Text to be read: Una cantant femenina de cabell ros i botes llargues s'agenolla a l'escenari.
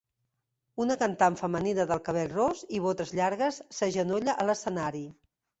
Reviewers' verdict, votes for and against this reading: rejected, 1, 2